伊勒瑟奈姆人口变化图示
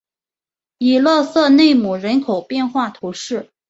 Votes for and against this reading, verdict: 2, 0, accepted